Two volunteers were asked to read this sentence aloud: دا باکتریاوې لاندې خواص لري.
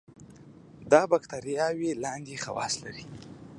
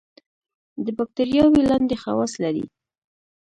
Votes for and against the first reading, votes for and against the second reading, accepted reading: 2, 0, 0, 2, first